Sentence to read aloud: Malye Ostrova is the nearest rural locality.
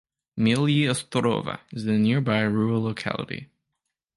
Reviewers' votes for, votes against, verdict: 0, 2, rejected